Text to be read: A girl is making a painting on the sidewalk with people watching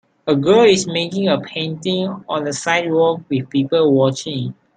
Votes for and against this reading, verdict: 2, 0, accepted